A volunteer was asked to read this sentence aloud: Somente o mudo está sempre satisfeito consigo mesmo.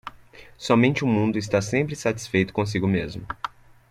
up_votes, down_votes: 0, 2